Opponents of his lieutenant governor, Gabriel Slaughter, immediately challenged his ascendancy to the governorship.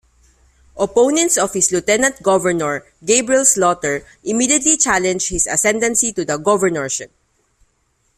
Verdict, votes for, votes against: accepted, 2, 0